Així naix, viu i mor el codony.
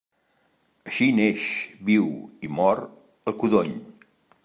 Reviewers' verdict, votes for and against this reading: rejected, 0, 2